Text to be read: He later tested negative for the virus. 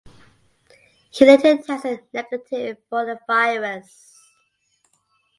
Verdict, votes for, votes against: accepted, 2, 0